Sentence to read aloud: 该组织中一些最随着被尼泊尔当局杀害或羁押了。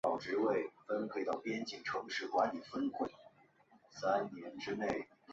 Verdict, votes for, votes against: rejected, 0, 2